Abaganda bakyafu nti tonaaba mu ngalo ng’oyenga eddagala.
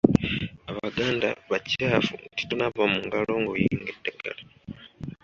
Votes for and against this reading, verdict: 2, 0, accepted